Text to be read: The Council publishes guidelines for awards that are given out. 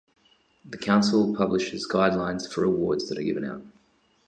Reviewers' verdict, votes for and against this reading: accepted, 2, 0